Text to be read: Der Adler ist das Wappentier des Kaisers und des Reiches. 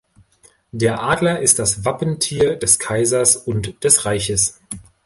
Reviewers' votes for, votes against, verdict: 2, 0, accepted